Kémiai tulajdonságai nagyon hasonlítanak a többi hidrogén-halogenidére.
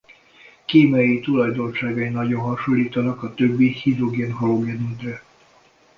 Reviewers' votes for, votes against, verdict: 0, 2, rejected